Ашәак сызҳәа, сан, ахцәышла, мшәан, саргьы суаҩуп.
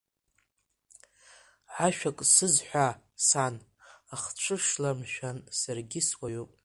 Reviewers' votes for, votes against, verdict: 1, 2, rejected